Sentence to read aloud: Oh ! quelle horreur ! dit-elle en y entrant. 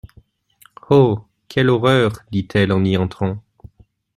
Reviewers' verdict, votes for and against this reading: accepted, 2, 0